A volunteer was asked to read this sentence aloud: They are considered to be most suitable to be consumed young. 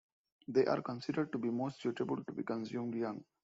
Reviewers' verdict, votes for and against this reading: accepted, 2, 1